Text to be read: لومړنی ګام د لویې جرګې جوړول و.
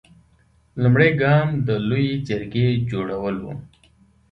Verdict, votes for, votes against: accepted, 2, 0